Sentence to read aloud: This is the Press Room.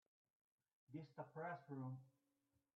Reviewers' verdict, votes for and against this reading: rejected, 0, 2